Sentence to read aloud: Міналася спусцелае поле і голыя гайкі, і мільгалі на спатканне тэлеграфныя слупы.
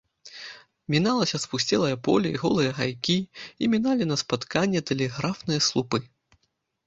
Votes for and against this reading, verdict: 1, 3, rejected